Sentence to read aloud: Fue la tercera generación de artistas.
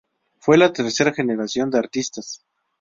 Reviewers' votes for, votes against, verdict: 2, 0, accepted